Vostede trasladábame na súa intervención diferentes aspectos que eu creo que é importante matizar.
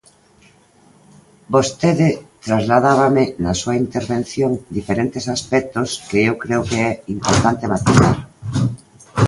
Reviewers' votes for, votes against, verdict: 2, 0, accepted